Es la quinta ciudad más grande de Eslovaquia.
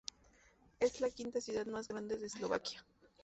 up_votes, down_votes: 2, 0